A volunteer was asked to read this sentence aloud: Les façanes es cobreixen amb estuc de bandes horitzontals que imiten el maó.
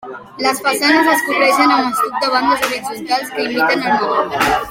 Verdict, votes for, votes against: accepted, 2, 1